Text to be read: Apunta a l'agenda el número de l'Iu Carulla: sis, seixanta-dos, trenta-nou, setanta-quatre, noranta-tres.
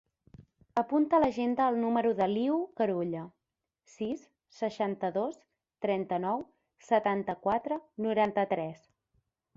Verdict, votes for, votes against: accepted, 4, 0